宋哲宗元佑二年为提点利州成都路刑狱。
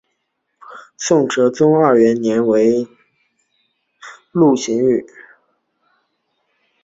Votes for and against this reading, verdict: 0, 2, rejected